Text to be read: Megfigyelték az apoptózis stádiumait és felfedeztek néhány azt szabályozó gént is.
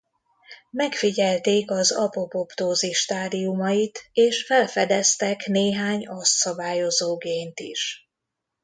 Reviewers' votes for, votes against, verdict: 0, 2, rejected